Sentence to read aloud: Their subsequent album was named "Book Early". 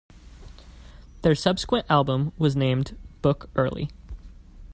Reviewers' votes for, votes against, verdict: 2, 0, accepted